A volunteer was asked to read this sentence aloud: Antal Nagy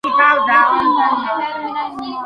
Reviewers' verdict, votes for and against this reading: rejected, 0, 3